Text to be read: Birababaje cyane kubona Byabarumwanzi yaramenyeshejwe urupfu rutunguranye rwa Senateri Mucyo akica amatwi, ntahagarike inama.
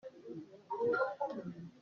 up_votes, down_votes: 0, 2